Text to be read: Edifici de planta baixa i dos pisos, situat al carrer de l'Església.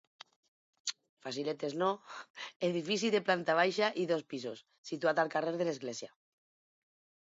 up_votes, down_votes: 0, 4